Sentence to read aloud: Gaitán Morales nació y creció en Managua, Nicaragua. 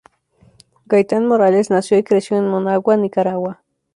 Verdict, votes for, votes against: rejected, 0, 2